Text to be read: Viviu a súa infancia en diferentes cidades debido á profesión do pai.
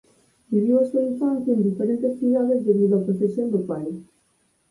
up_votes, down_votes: 4, 2